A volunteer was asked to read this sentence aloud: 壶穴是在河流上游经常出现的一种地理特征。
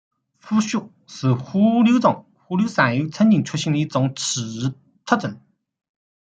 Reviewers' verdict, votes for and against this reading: rejected, 0, 2